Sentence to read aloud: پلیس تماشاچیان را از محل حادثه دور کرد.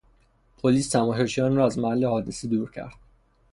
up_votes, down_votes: 3, 3